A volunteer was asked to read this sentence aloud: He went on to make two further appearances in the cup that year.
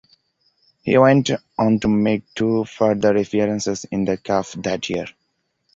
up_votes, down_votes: 2, 0